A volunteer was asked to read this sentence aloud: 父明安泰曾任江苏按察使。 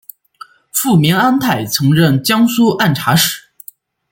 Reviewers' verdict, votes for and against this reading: accepted, 2, 0